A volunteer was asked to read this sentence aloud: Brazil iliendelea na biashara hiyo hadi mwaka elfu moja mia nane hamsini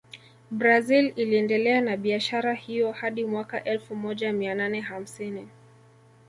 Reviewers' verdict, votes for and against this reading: rejected, 0, 2